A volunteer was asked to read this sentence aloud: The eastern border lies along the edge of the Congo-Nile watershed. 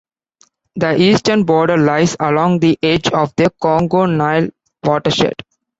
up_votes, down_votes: 2, 1